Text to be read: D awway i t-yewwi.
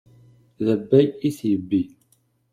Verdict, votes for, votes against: rejected, 0, 2